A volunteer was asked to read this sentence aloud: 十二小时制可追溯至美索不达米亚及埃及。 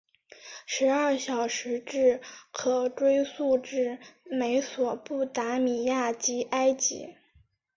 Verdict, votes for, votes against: accepted, 3, 0